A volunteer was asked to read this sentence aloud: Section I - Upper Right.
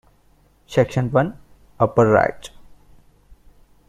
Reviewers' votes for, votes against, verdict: 0, 2, rejected